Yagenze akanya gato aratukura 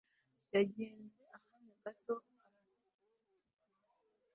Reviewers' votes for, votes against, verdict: 1, 2, rejected